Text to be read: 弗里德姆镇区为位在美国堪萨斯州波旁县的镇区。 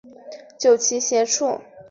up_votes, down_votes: 5, 7